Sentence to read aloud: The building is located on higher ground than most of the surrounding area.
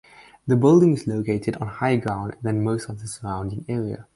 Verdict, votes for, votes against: accepted, 4, 0